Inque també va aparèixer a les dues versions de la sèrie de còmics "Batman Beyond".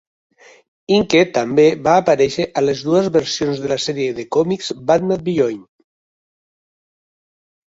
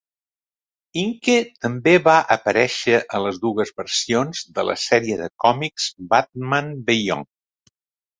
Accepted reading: second